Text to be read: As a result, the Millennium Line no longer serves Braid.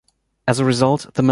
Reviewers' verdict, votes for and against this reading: rejected, 1, 2